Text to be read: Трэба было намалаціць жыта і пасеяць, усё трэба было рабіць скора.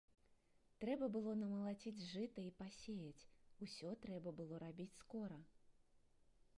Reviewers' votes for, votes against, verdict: 0, 2, rejected